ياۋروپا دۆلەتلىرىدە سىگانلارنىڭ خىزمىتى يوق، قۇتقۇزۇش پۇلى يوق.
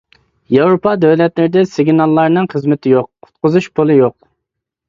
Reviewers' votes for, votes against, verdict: 0, 2, rejected